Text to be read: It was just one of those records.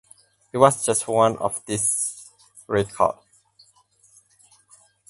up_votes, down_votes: 0, 4